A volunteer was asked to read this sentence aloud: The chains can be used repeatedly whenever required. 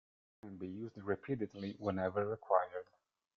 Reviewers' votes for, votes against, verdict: 0, 2, rejected